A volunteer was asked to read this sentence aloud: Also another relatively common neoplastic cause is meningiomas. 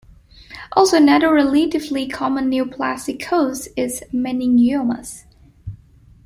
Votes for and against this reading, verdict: 2, 1, accepted